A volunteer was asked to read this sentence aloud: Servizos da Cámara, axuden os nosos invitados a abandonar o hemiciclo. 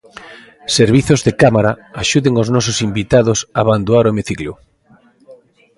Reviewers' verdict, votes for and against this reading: rejected, 1, 2